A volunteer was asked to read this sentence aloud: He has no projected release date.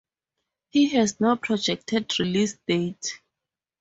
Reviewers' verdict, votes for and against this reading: accepted, 2, 0